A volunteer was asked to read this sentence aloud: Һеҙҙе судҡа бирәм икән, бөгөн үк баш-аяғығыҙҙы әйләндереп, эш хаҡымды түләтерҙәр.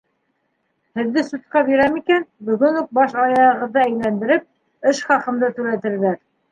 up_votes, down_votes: 2, 1